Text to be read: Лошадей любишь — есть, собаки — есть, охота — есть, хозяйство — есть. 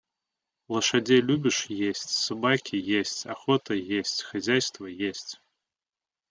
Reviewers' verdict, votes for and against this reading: accepted, 2, 0